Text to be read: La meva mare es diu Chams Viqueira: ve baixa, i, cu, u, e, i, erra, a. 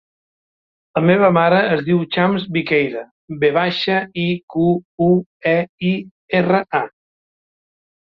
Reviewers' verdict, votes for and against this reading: accepted, 3, 0